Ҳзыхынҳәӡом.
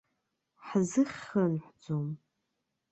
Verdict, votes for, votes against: rejected, 1, 2